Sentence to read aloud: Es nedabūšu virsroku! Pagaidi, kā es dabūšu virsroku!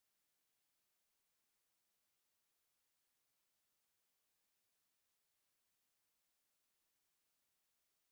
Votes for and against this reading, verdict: 0, 2, rejected